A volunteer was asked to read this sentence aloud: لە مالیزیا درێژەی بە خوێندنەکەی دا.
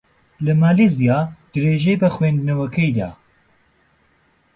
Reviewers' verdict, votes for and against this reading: rejected, 0, 2